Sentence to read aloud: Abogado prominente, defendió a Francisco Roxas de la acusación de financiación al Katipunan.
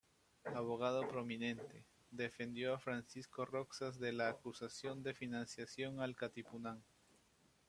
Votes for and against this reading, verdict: 0, 2, rejected